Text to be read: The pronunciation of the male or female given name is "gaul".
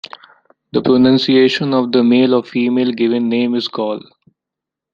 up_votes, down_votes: 2, 1